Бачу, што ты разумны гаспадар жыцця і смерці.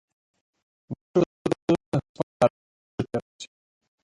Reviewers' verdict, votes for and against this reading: rejected, 0, 2